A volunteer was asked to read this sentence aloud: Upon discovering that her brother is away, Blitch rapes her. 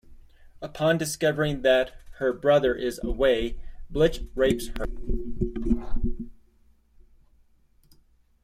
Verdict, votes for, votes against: accepted, 2, 1